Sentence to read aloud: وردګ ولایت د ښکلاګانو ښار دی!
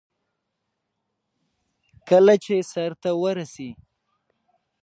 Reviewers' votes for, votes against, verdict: 2, 1, accepted